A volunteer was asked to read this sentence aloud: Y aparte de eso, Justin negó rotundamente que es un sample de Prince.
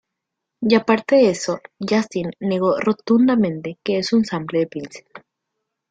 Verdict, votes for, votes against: accepted, 2, 0